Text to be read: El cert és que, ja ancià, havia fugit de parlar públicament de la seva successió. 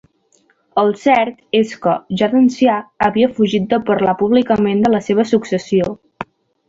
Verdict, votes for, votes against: rejected, 0, 2